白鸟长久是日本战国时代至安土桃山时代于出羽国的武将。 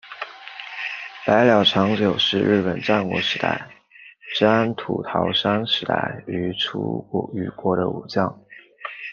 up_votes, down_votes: 1, 2